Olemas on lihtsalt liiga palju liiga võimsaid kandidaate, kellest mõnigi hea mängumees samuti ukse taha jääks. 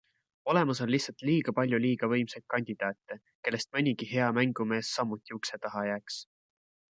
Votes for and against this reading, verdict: 2, 0, accepted